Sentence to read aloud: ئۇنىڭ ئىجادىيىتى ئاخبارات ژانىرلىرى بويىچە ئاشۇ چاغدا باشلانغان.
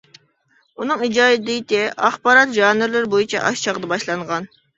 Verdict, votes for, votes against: accepted, 2, 1